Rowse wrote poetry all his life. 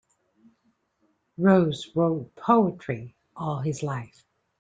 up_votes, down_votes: 2, 0